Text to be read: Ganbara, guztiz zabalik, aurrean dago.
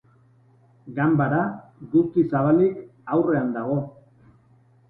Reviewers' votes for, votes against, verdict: 3, 0, accepted